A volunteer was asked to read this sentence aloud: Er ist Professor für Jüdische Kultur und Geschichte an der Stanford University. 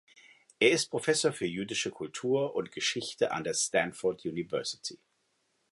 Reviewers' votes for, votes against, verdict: 2, 0, accepted